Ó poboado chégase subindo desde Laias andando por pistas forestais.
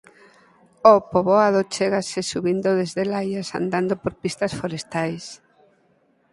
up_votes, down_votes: 4, 0